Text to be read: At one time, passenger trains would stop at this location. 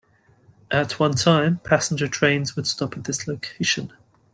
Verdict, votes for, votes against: rejected, 0, 2